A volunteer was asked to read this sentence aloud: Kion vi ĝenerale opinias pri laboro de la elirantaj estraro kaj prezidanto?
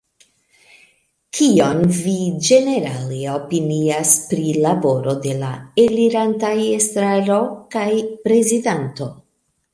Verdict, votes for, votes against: rejected, 0, 2